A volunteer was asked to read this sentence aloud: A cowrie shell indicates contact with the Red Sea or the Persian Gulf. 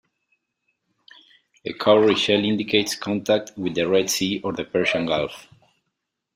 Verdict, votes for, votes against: accepted, 2, 1